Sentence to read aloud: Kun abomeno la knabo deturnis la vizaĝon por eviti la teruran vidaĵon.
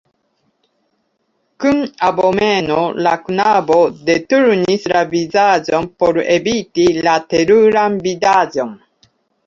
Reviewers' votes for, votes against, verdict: 1, 2, rejected